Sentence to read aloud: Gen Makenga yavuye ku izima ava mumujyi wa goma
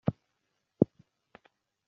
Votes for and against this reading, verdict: 0, 3, rejected